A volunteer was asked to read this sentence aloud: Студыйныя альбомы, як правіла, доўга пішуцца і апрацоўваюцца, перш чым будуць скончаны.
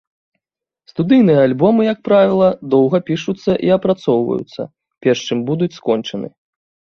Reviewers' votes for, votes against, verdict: 2, 0, accepted